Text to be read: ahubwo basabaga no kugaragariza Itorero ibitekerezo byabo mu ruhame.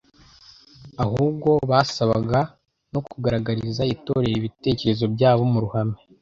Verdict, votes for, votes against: accepted, 2, 0